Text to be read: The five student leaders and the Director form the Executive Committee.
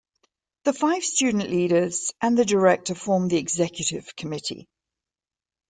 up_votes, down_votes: 2, 0